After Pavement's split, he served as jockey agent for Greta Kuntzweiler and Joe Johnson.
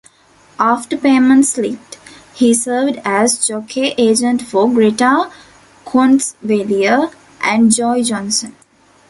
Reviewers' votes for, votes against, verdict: 0, 2, rejected